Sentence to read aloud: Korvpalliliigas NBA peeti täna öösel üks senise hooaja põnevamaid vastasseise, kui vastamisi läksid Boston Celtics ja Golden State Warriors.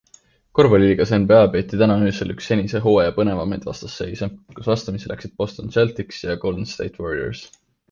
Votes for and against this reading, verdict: 2, 0, accepted